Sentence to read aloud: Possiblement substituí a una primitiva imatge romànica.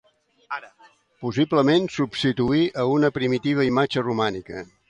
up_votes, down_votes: 0, 2